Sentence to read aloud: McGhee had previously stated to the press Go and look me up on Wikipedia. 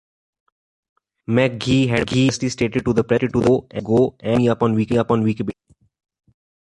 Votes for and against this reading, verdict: 0, 2, rejected